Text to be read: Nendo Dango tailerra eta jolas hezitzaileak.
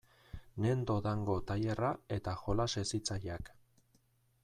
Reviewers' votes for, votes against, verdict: 2, 0, accepted